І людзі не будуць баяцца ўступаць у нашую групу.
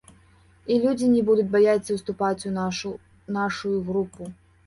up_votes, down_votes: 0, 2